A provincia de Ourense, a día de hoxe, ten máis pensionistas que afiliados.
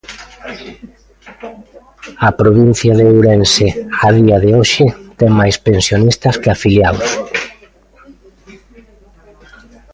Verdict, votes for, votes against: accepted, 2, 0